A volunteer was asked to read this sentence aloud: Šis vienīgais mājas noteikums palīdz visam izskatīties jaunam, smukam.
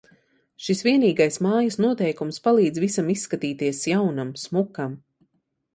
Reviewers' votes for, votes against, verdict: 2, 0, accepted